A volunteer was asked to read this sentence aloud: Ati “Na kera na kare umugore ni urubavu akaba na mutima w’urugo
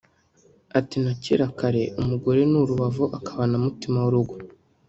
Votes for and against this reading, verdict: 1, 2, rejected